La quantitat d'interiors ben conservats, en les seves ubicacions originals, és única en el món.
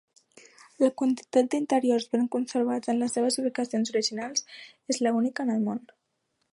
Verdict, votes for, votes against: rejected, 1, 2